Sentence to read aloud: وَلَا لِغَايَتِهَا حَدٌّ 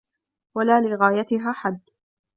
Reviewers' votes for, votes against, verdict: 2, 0, accepted